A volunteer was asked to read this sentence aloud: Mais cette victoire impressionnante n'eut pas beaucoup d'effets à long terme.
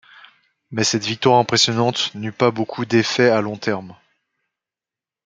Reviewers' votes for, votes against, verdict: 1, 2, rejected